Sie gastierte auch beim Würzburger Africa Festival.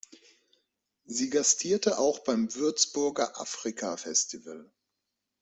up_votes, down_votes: 4, 0